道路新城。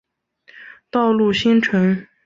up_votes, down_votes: 6, 0